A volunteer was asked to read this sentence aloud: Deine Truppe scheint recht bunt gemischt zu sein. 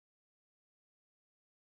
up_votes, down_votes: 0, 2